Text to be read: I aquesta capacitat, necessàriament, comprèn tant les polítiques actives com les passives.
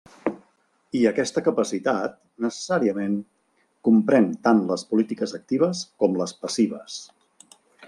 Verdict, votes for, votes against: accepted, 3, 0